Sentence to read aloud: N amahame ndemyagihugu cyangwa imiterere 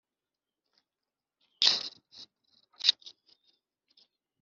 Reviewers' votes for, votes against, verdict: 1, 2, rejected